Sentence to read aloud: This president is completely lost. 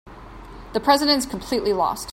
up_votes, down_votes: 1, 2